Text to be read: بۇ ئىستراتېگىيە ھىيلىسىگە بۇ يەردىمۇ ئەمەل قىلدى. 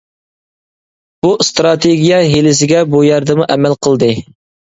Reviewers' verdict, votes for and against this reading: accepted, 2, 0